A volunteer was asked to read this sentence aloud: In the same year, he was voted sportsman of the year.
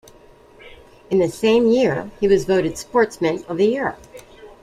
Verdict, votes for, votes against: rejected, 1, 2